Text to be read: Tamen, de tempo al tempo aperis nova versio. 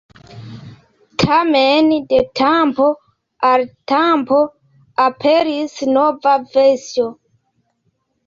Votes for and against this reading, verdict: 2, 1, accepted